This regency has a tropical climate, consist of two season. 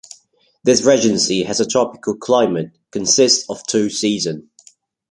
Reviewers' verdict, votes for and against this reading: rejected, 0, 2